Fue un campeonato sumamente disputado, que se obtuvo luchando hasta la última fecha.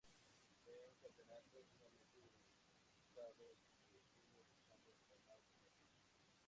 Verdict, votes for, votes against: accepted, 2, 0